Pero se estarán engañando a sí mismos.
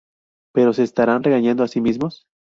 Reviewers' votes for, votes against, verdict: 0, 2, rejected